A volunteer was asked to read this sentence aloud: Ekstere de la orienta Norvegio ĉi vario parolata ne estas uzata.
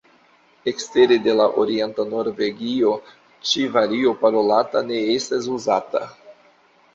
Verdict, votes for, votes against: accepted, 2, 0